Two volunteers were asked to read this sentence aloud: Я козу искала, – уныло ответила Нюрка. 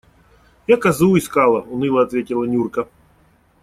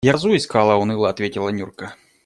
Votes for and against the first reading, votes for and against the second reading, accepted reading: 2, 0, 1, 2, first